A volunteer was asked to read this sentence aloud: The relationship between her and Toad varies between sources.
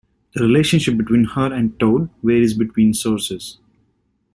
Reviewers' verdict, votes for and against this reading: rejected, 1, 2